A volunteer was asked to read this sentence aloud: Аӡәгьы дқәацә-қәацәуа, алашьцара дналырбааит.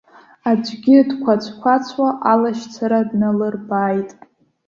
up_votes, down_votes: 1, 2